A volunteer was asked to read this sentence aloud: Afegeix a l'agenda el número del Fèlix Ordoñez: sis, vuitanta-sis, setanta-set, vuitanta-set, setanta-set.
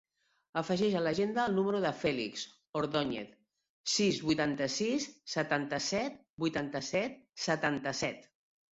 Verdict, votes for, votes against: accepted, 2, 0